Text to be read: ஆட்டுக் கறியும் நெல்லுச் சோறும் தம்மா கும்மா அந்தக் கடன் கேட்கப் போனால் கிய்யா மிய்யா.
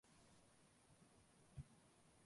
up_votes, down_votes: 0, 2